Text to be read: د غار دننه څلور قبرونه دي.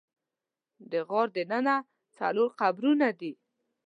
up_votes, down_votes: 2, 0